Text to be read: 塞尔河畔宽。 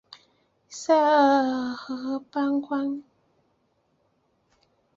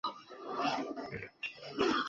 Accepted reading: first